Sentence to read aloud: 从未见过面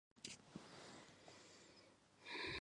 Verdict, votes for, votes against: rejected, 0, 3